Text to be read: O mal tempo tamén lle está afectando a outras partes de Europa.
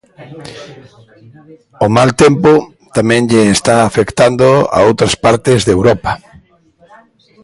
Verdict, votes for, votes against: accepted, 2, 1